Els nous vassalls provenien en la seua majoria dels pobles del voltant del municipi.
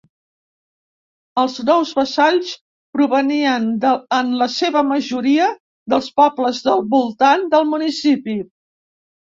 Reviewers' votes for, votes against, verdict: 0, 2, rejected